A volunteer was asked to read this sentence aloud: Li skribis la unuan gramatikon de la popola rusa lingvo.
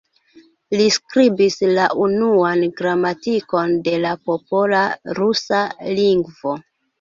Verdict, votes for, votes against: accepted, 2, 0